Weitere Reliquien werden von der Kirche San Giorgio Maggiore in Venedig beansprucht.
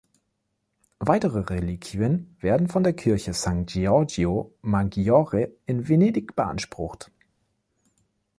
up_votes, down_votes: 1, 2